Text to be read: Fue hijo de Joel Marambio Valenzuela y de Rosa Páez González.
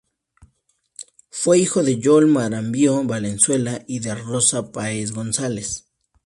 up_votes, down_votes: 2, 0